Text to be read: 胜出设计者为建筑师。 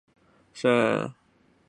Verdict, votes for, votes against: rejected, 0, 3